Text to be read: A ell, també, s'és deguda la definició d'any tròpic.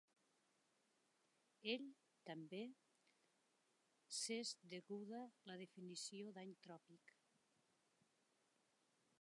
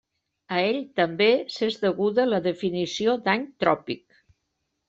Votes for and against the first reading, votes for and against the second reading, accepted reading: 0, 2, 3, 0, second